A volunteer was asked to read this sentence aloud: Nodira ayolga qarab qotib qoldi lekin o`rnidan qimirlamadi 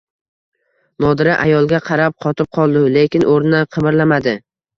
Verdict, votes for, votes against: accepted, 2, 0